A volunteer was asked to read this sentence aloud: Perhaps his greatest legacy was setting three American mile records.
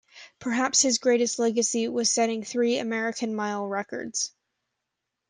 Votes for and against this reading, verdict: 2, 0, accepted